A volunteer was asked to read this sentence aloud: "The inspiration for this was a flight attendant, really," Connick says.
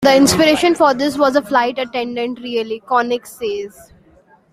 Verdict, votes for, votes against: accepted, 2, 1